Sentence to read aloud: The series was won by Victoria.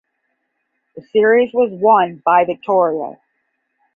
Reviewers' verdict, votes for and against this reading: accepted, 10, 0